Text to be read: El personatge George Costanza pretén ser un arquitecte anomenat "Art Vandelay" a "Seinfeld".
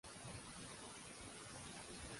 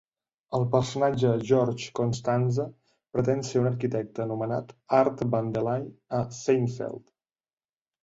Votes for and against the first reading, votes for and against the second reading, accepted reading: 0, 2, 2, 0, second